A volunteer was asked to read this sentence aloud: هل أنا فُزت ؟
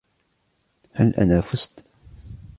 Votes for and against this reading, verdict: 2, 0, accepted